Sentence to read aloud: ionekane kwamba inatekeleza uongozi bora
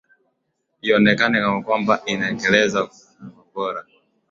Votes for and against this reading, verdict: 2, 1, accepted